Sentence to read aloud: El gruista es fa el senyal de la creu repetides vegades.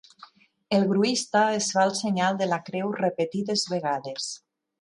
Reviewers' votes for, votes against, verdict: 5, 0, accepted